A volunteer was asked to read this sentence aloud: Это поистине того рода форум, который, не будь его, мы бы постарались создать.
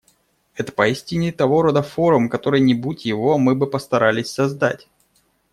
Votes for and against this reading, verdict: 2, 0, accepted